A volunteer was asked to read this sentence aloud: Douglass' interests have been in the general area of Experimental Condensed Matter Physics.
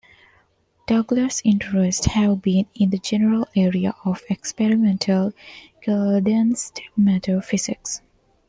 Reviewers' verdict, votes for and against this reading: accepted, 2, 0